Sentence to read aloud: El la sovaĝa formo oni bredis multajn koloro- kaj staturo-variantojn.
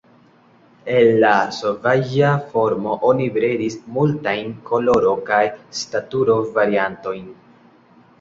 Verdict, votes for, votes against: rejected, 1, 2